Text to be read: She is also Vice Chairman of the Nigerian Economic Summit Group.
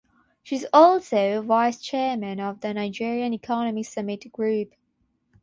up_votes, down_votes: 0, 6